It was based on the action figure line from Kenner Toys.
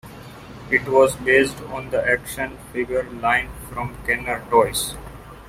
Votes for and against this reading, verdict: 1, 2, rejected